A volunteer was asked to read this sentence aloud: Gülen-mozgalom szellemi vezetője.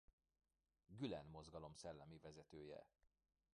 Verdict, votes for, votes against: rejected, 1, 2